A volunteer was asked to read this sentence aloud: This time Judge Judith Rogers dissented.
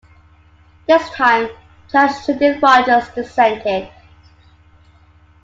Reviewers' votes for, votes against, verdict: 2, 0, accepted